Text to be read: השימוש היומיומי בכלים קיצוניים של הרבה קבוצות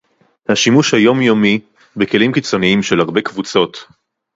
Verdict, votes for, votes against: accepted, 2, 0